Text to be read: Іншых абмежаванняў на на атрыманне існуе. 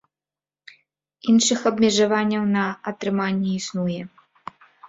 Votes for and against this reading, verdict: 2, 3, rejected